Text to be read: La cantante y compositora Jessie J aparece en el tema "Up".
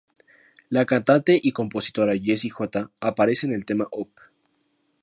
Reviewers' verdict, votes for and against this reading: accepted, 2, 0